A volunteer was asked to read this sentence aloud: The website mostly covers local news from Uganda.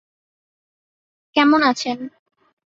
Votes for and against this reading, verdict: 0, 2, rejected